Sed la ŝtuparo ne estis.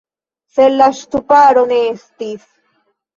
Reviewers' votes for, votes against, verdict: 2, 0, accepted